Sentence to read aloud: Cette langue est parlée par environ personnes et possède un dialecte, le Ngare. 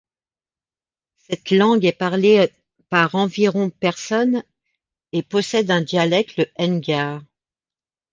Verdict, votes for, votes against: rejected, 0, 2